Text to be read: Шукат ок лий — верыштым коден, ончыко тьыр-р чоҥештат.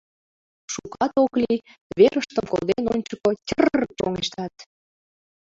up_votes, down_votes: 0, 2